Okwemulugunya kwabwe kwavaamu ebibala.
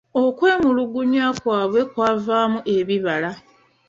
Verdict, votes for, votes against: accepted, 2, 0